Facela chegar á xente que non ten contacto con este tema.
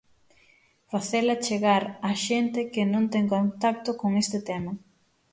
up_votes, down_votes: 6, 0